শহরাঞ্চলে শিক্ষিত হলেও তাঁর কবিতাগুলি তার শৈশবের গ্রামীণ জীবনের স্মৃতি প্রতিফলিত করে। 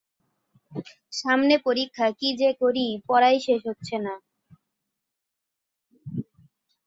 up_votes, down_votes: 0, 2